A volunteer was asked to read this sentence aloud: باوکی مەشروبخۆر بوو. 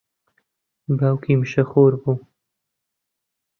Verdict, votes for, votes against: rejected, 0, 2